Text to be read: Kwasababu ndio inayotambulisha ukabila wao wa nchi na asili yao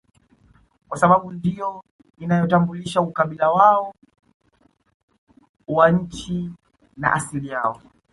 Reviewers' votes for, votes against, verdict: 0, 2, rejected